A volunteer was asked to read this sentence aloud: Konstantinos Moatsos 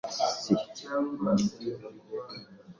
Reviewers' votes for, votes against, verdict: 0, 2, rejected